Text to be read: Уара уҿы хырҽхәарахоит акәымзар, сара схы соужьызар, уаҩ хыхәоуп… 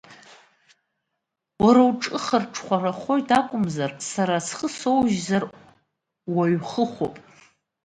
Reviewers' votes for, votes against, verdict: 2, 0, accepted